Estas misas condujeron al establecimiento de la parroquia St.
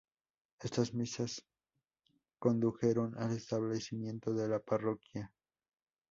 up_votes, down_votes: 0, 2